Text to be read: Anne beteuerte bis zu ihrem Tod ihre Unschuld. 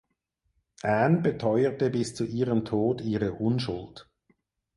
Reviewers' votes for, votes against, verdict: 2, 4, rejected